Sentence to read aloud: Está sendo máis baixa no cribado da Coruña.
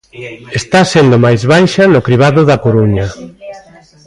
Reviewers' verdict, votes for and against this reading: rejected, 1, 2